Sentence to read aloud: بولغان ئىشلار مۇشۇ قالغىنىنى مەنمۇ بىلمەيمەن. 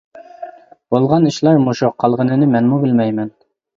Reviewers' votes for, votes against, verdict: 2, 0, accepted